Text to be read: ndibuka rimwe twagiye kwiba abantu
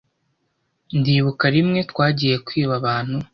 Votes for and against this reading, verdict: 2, 1, accepted